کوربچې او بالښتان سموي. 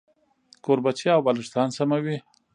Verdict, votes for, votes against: accepted, 2, 0